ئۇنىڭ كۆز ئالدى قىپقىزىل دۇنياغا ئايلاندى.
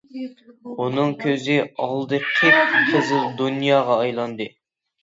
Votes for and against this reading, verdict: 0, 2, rejected